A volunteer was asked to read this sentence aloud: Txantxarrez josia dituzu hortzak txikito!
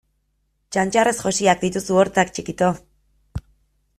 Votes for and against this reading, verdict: 2, 0, accepted